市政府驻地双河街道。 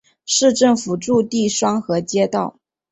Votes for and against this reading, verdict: 2, 0, accepted